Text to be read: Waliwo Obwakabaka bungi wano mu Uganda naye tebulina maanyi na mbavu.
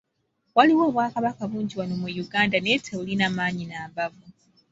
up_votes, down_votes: 2, 0